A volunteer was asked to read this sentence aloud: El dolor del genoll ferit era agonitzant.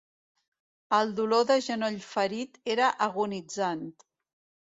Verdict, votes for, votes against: accepted, 2, 0